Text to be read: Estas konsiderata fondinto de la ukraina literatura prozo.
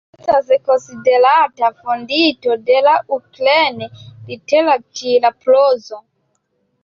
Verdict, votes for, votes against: accepted, 2, 1